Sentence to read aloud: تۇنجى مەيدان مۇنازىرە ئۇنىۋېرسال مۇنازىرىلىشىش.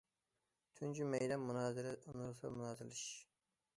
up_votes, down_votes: 0, 2